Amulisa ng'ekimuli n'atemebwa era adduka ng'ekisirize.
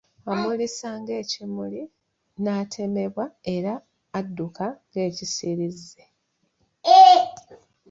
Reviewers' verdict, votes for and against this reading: rejected, 0, 2